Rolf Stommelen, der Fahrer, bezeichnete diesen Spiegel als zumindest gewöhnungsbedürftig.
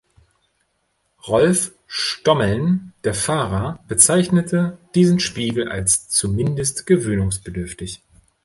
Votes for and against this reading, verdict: 1, 2, rejected